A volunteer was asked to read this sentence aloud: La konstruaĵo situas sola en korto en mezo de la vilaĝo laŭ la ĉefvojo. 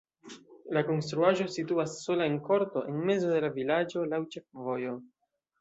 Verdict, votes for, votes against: rejected, 1, 2